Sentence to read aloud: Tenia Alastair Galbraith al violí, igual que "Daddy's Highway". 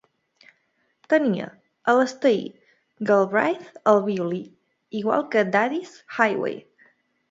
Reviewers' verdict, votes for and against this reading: accepted, 2, 0